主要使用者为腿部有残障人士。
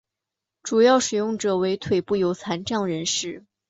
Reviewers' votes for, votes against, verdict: 2, 1, accepted